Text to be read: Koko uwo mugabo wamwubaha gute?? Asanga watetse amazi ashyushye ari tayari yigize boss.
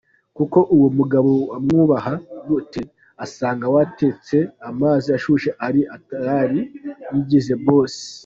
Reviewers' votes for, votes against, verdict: 2, 0, accepted